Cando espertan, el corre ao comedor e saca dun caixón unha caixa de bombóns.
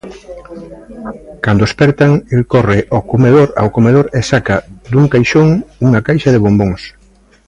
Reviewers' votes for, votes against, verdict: 0, 2, rejected